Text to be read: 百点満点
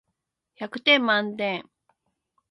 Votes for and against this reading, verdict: 2, 0, accepted